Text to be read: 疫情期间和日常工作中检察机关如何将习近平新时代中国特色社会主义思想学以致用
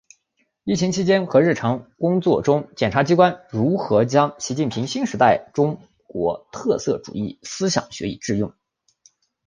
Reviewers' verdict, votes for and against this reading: accepted, 2, 0